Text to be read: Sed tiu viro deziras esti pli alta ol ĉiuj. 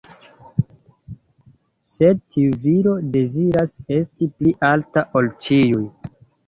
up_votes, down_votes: 2, 0